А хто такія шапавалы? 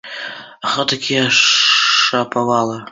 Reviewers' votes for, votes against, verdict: 2, 0, accepted